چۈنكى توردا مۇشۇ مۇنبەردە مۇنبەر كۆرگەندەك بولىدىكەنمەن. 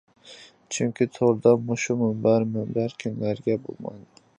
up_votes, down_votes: 0, 2